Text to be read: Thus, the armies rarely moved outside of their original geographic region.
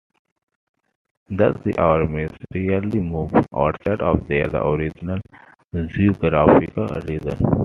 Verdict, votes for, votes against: accepted, 2, 1